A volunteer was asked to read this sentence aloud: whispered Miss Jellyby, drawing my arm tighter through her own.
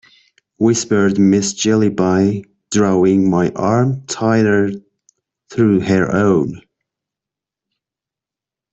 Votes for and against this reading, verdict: 1, 2, rejected